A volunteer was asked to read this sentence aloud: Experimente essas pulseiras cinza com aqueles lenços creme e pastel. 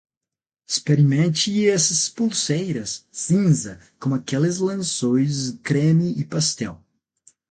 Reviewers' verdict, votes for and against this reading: accepted, 6, 0